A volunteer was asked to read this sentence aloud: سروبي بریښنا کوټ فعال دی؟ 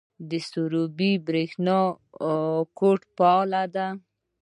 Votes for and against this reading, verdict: 1, 2, rejected